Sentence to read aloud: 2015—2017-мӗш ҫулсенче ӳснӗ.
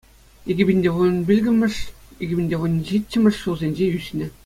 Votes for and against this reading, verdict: 0, 2, rejected